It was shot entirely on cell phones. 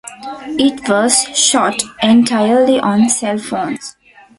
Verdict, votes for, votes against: accepted, 2, 0